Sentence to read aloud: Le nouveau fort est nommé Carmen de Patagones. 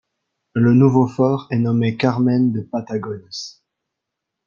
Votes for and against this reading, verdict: 2, 0, accepted